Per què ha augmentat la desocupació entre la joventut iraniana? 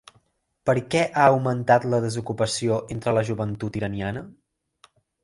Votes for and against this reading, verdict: 3, 0, accepted